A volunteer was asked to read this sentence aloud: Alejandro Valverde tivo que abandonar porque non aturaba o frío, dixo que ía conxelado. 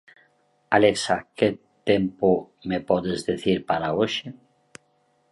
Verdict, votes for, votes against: rejected, 0, 2